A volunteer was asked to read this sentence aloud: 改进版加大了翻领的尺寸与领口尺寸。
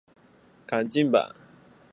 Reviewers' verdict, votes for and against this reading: rejected, 4, 5